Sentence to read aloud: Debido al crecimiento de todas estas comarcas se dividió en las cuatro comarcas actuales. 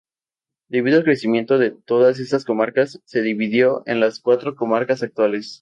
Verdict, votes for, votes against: accepted, 2, 0